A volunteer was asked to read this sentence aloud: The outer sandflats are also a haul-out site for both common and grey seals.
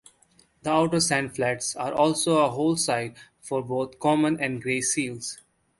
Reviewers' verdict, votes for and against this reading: rejected, 1, 2